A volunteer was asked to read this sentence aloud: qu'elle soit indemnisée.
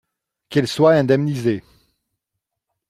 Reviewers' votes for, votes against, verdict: 0, 2, rejected